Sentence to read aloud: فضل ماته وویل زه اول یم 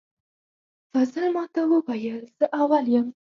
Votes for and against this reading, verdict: 0, 4, rejected